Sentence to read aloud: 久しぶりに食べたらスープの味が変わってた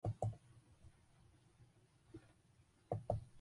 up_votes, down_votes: 0, 2